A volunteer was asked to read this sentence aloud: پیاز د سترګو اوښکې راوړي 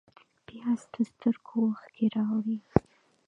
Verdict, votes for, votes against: rejected, 1, 2